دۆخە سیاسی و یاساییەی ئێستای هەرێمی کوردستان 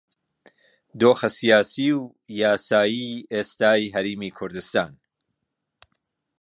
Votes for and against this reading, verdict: 0, 2, rejected